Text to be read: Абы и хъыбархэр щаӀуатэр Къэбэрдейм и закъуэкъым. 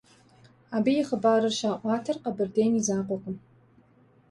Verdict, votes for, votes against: rejected, 0, 2